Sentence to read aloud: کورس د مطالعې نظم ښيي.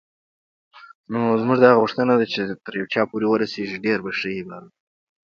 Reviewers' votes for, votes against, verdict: 1, 2, rejected